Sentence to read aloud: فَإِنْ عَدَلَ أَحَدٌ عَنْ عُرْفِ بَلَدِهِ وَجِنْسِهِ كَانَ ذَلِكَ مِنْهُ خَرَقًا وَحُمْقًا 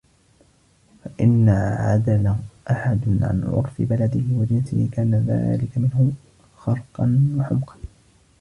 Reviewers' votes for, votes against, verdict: 1, 2, rejected